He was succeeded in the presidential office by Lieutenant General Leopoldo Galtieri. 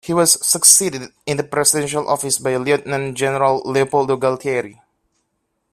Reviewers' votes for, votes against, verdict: 0, 2, rejected